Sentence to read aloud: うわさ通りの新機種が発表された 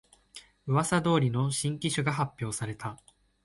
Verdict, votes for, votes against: accepted, 33, 1